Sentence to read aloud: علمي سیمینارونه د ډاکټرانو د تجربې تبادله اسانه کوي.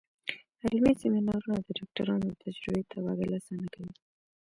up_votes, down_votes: 1, 2